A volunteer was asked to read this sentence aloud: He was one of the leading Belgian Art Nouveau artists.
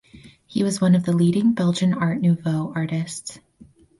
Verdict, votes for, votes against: accepted, 4, 0